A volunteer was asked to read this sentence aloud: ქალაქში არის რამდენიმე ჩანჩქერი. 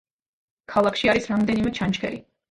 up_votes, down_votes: 2, 0